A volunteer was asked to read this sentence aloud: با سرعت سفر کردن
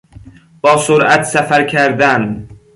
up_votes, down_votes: 2, 0